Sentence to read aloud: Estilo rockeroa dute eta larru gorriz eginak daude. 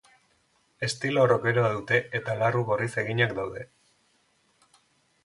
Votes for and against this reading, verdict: 2, 0, accepted